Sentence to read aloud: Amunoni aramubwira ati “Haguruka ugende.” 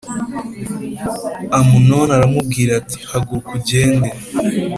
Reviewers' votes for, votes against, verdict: 3, 0, accepted